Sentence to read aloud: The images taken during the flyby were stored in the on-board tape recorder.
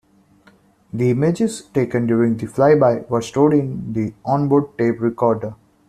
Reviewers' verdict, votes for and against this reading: accepted, 2, 0